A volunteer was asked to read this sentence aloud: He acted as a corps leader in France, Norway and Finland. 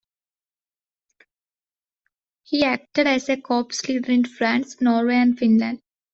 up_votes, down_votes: 1, 2